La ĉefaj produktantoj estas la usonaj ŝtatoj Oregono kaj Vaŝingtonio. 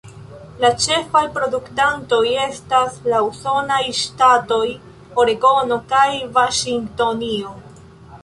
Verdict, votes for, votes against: accepted, 2, 1